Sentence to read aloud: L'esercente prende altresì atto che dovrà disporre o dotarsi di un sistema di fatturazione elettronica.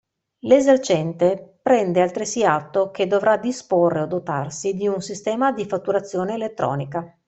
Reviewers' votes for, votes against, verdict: 2, 0, accepted